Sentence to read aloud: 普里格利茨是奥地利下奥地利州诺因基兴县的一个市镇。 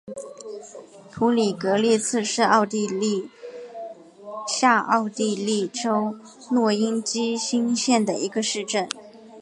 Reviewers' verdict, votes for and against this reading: accepted, 2, 1